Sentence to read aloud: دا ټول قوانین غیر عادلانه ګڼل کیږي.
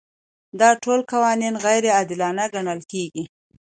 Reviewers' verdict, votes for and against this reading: accepted, 2, 0